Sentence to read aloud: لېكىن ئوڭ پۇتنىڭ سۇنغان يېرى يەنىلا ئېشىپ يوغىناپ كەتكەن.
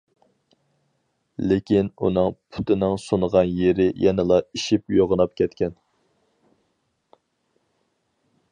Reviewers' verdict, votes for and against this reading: rejected, 2, 2